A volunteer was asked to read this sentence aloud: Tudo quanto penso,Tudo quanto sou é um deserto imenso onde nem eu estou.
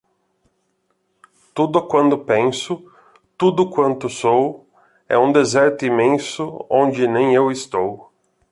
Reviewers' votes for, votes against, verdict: 1, 2, rejected